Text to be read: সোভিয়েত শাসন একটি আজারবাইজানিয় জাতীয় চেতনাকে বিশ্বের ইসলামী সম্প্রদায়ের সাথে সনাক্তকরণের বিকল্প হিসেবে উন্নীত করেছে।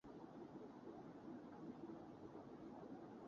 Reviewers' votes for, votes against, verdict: 0, 7, rejected